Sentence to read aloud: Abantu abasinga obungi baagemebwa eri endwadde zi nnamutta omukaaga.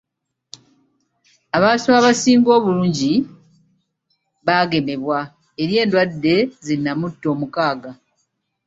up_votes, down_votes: 2, 0